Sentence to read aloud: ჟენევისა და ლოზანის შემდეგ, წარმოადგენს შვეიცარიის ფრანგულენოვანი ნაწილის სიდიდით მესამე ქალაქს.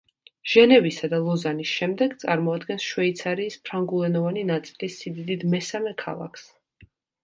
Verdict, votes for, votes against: accepted, 2, 0